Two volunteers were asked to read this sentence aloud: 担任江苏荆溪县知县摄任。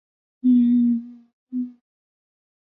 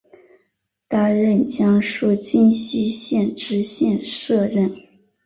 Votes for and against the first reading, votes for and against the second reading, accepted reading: 1, 2, 8, 1, second